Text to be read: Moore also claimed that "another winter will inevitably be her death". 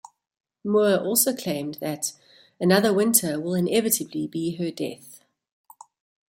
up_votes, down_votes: 2, 0